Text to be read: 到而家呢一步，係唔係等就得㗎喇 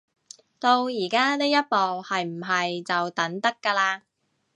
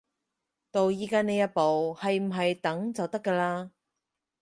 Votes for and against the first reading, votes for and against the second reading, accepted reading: 1, 2, 4, 0, second